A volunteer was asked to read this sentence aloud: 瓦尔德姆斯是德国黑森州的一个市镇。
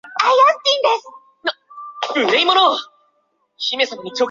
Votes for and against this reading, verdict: 1, 3, rejected